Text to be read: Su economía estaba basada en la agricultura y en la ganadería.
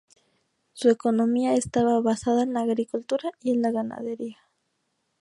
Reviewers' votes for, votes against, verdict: 2, 0, accepted